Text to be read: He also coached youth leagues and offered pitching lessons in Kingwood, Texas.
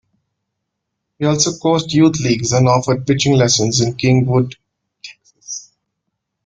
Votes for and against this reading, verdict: 0, 2, rejected